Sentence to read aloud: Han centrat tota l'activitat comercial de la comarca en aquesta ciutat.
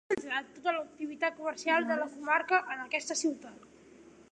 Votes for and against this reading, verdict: 0, 2, rejected